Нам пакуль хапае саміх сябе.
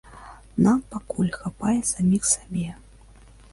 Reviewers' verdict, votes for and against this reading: rejected, 1, 2